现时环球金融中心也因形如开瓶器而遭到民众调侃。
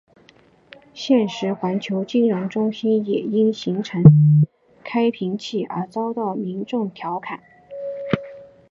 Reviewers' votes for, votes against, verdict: 4, 1, accepted